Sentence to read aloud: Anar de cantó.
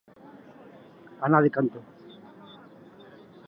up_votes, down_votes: 2, 0